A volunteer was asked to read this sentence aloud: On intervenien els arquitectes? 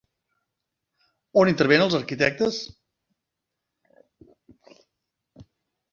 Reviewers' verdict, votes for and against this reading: rejected, 0, 3